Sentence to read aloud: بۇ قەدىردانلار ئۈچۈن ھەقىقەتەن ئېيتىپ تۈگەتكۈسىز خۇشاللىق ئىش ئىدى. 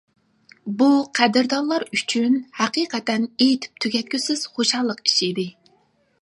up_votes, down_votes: 2, 0